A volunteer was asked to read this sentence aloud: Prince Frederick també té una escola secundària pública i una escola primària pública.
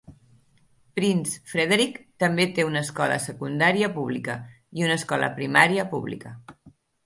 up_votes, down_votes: 2, 0